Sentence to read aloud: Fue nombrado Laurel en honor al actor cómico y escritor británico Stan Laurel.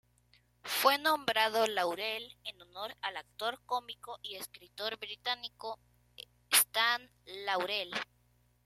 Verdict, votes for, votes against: accepted, 2, 0